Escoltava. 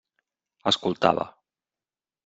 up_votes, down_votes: 3, 0